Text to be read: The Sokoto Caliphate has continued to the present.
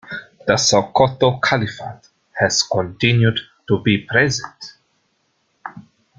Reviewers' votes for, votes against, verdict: 0, 2, rejected